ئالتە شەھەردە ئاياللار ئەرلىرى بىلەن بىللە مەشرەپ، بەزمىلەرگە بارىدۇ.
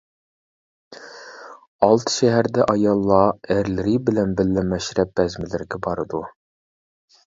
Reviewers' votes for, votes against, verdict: 0, 2, rejected